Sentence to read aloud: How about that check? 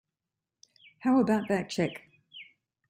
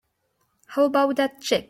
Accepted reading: first